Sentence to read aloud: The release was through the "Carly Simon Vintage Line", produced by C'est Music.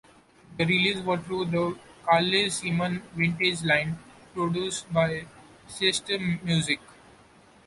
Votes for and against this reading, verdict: 0, 2, rejected